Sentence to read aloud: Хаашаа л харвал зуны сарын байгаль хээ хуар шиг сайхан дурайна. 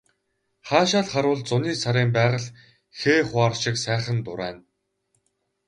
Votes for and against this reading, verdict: 2, 2, rejected